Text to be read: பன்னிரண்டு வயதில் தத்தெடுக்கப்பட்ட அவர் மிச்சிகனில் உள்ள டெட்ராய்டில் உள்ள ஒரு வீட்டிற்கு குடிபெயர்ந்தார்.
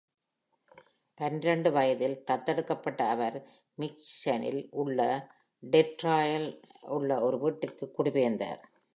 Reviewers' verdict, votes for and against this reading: rejected, 0, 2